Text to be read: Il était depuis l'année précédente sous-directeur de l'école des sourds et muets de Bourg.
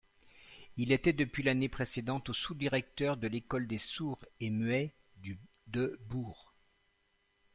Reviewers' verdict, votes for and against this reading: rejected, 0, 2